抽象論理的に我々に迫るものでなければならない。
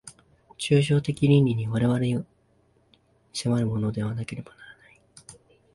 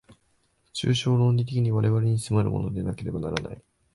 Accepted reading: second